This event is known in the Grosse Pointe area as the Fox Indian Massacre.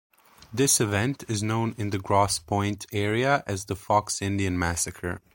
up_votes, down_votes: 2, 0